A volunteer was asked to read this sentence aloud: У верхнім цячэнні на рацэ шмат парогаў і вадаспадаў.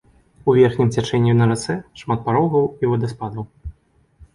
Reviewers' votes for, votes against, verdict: 2, 0, accepted